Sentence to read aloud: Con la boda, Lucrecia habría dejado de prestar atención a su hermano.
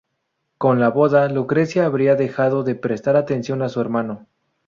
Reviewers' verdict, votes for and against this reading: accepted, 2, 0